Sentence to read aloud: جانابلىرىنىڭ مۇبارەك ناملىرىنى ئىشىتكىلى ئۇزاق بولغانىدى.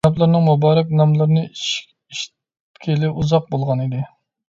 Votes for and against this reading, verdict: 0, 2, rejected